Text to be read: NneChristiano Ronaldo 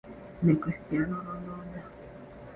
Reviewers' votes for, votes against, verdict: 1, 2, rejected